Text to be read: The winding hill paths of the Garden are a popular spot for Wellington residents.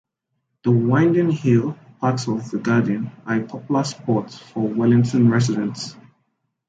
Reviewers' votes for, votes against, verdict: 2, 0, accepted